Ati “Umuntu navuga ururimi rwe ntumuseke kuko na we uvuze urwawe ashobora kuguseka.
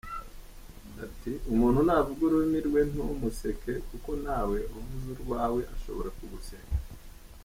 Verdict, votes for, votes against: rejected, 0, 2